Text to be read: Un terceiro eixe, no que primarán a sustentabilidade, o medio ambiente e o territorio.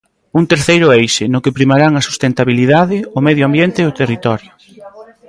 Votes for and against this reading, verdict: 0, 2, rejected